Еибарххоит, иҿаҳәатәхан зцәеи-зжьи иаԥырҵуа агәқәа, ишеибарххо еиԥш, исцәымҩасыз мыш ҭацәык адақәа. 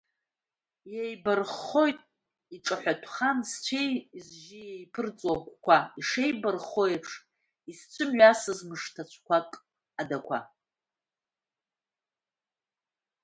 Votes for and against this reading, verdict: 1, 2, rejected